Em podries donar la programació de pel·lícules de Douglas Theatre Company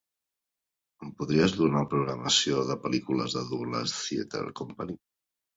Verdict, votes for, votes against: rejected, 1, 2